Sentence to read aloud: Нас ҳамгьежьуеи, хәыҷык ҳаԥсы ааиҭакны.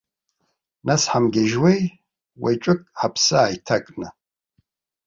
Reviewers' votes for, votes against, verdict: 1, 2, rejected